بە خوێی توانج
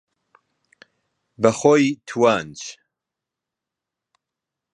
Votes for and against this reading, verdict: 0, 2, rejected